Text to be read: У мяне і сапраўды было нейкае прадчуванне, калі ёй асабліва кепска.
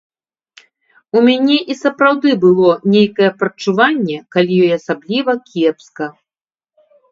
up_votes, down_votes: 2, 0